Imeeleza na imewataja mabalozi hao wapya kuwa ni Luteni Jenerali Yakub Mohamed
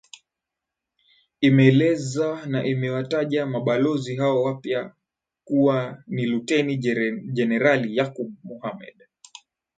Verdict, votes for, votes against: accepted, 14, 0